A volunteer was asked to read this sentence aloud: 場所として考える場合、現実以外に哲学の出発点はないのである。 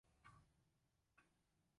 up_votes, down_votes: 1, 2